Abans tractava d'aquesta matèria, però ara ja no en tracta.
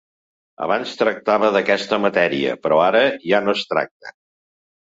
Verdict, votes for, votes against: rejected, 1, 2